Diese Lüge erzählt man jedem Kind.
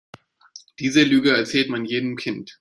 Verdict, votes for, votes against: accepted, 2, 0